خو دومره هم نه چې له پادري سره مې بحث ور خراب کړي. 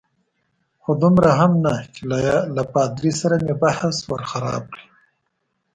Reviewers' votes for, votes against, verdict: 1, 2, rejected